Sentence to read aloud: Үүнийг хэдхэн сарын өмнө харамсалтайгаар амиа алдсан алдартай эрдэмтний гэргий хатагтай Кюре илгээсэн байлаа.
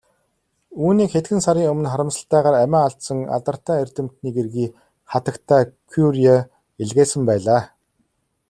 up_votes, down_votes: 2, 0